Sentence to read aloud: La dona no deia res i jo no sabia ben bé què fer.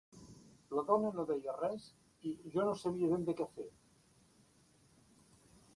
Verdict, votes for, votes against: rejected, 1, 2